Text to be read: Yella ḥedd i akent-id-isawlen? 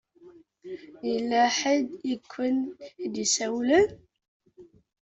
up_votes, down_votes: 1, 2